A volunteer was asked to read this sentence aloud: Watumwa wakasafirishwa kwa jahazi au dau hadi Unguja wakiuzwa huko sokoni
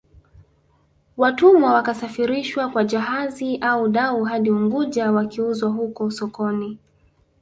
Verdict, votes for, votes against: accepted, 3, 0